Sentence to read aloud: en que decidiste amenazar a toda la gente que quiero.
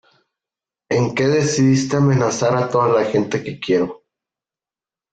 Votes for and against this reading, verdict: 2, 0, accepted